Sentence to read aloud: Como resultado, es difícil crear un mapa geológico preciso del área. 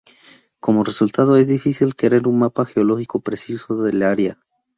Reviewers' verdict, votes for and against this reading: accepted, 2, 0